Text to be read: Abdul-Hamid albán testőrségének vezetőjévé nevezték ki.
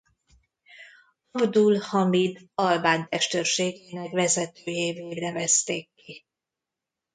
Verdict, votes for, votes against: rejected, 0, 2